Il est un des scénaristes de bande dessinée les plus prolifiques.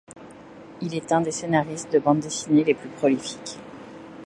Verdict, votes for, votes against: accepted, 2, 0